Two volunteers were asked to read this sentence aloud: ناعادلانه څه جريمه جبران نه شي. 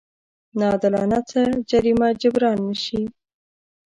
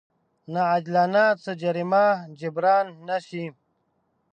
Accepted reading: second